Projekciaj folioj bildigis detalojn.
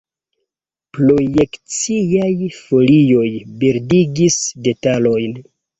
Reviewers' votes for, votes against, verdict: 2, 0, accepted